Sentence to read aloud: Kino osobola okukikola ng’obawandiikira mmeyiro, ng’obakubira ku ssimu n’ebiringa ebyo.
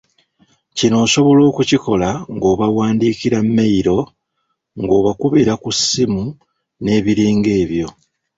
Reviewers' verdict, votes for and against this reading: accepted, 2, 0